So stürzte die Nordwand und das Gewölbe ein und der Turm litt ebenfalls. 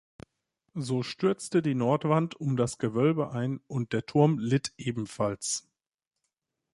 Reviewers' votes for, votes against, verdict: 0, 2, rejected